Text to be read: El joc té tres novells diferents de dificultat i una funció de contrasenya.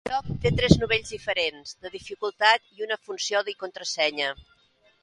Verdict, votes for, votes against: rejected, 0, 2